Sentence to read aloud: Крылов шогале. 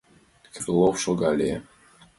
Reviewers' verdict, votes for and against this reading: accepted, 2, 0